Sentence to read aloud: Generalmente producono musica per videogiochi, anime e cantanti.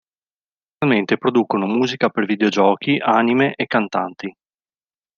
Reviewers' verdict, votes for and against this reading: rejected, 0, 3